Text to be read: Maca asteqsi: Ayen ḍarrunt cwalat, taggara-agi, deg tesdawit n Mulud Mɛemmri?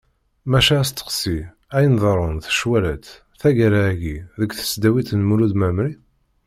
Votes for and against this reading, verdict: 0, 2, rejected